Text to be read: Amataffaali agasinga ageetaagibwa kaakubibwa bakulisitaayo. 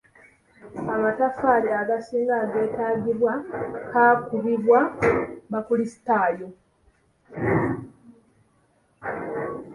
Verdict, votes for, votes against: accepted, 2, 0